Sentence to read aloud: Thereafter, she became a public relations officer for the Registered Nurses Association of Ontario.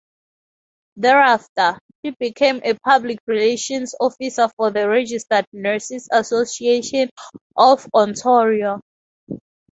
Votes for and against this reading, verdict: 0, 2, rejected